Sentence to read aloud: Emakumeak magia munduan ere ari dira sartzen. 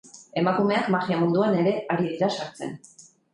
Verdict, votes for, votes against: accepted, 4, 0